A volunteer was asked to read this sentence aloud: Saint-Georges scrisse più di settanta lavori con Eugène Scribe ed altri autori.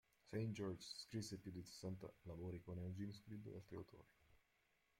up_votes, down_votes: 0, 2